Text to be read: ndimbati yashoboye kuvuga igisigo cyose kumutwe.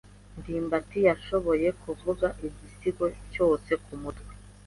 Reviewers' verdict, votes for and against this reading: accepted, 2, 0